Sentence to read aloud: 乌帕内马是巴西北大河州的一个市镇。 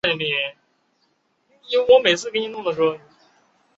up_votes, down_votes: 1, 4